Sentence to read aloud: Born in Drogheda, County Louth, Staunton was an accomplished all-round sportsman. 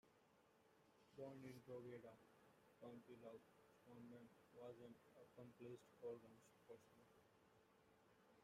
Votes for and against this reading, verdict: 0, 2, rejected